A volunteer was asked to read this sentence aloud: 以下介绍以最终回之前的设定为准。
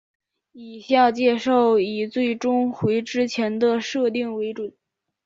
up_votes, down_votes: 2, 0